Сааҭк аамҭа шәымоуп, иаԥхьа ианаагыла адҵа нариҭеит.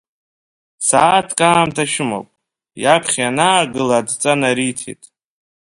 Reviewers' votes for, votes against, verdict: 2, 0, accepted